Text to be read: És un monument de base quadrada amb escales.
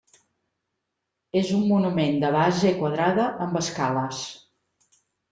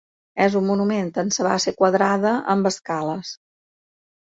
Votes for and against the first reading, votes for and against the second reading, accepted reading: 3, 0, 1, 2, first